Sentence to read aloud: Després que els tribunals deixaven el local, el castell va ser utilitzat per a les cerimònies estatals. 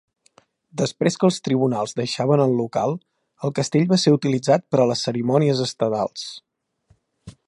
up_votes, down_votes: 1, 2